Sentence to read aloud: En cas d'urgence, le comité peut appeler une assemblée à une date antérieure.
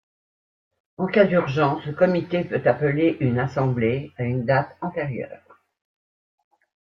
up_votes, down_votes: 2, 0